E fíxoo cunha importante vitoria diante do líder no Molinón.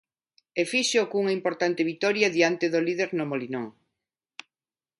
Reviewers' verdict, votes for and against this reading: accepted, 2, 0